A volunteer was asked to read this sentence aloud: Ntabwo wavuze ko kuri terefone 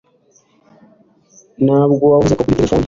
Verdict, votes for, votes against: rejected, 1, 2